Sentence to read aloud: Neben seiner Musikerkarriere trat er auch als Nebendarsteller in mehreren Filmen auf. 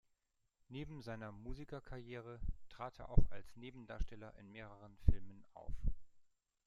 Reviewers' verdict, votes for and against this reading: rejected, 1, 2